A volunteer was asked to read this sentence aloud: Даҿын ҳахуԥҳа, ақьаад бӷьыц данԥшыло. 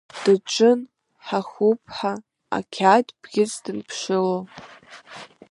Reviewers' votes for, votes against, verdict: 1, 2, rejected